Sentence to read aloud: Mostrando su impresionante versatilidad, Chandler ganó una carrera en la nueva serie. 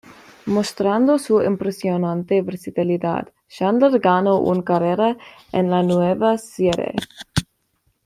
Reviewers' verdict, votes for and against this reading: accepted, 2, 0